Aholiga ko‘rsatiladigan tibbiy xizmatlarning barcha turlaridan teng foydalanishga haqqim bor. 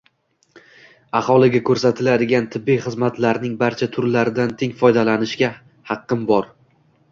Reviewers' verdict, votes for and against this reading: rejected, 1, 2